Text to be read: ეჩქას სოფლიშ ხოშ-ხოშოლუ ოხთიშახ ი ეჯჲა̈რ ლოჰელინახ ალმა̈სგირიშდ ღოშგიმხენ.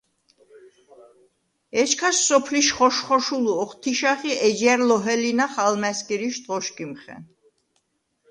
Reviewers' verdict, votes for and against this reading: accepted, 2, 0